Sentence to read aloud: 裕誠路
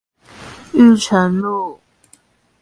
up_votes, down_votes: 2, 0